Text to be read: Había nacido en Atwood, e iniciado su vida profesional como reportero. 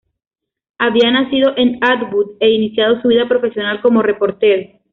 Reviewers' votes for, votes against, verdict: 2, 0, accepted